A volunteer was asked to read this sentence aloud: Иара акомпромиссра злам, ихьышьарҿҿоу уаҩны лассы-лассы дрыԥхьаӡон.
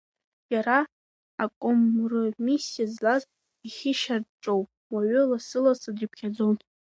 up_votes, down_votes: 0, 3